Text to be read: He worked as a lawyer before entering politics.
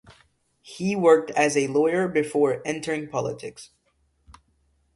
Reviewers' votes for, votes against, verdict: 2, 0, accepted